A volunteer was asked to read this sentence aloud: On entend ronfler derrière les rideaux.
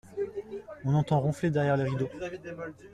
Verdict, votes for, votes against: accepted, 2, 0